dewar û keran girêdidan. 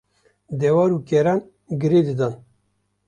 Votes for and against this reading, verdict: 2, 0, accepted